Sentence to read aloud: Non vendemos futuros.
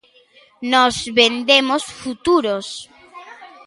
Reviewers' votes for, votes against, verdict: 0, 2, rejected